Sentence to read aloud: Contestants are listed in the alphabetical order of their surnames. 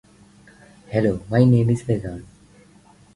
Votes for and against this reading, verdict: 0, 4, rejected